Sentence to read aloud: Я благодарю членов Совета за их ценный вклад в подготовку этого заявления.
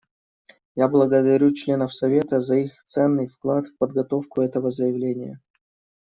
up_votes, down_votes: 2, 0